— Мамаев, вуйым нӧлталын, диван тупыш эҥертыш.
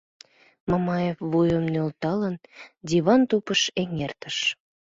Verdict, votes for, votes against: accepted, 2, 0